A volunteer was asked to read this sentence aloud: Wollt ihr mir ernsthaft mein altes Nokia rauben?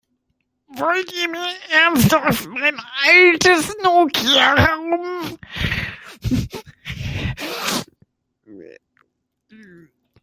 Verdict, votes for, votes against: rejected, 1, 2